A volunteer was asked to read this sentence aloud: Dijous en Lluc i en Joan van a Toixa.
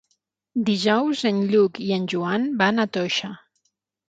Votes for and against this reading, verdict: 15, 0, accepted